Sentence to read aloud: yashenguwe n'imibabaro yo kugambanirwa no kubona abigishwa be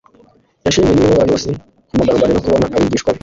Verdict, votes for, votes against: rejected, 1, 2